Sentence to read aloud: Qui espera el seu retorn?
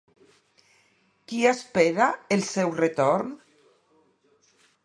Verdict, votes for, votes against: accepted, 2, 0